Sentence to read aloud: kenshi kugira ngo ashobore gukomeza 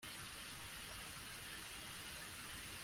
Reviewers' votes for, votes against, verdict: 0, 2, rejected